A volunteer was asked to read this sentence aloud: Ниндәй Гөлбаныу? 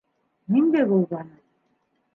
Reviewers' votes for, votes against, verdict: 1, 2, rejected